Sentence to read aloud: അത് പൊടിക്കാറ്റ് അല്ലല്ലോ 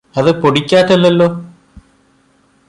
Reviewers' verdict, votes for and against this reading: rejected, 1, 2